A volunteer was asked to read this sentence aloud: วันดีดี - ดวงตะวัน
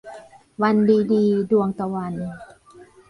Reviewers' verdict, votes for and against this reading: accepted, 2, 1